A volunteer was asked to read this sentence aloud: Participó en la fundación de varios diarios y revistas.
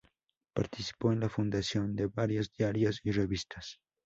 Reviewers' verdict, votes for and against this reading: rejected, 0, 4